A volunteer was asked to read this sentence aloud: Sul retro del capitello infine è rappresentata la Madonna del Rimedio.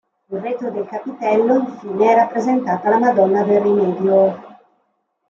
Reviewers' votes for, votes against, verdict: 2, 0, accepted